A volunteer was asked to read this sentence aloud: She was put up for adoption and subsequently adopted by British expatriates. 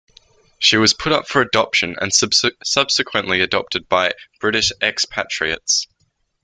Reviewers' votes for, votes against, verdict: 2, 1, accepted